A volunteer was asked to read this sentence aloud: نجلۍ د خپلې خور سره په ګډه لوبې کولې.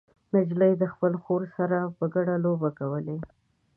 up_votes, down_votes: 2, 0